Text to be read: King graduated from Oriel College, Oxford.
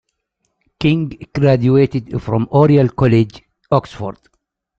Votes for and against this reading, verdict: 0, 2, rejected